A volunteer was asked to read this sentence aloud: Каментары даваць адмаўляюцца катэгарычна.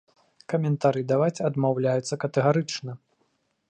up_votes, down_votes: 2, 0